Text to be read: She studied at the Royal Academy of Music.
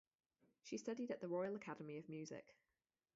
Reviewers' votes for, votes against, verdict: 2, 2, rejected